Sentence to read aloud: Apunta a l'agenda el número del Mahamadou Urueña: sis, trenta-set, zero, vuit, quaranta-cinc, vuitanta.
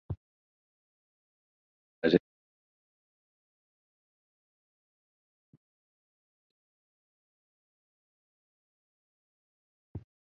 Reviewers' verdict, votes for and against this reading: rejected, 0, 6